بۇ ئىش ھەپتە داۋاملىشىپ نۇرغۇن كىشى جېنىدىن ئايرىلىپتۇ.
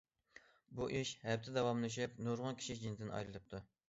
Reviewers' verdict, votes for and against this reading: accepted, 2, 0